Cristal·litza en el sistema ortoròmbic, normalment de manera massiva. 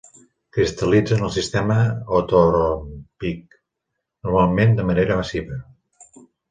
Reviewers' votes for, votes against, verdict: 0, 3, rejected